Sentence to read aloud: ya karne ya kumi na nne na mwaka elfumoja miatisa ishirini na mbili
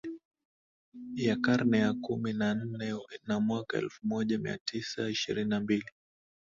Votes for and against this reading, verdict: 2, 0, accepted